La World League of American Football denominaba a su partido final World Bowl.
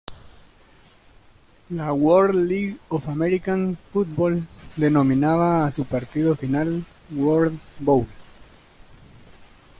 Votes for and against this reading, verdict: 1, 2, rejected